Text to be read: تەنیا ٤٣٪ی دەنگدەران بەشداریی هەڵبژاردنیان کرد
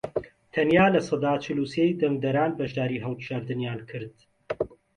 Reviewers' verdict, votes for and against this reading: rejected, 0, 2